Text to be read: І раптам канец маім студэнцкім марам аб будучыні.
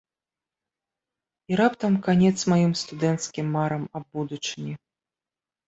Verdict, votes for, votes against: accepted, 2, 0